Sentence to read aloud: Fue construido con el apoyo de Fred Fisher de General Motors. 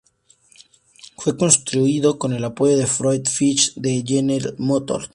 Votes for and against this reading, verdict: 2, 0, accepted